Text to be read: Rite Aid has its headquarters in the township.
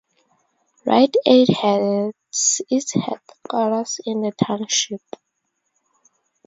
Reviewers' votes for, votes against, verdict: 2, 0, accepted